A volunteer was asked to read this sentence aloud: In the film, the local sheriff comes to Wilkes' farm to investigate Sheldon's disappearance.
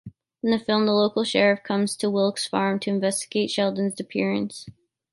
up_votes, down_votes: 0, 3